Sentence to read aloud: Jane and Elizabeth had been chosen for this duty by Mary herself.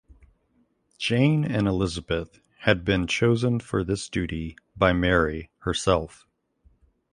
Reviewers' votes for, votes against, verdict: 2, 0, accepted